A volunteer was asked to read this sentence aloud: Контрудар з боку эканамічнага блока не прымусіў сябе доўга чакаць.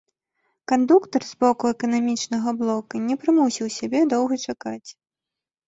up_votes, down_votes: 0, 3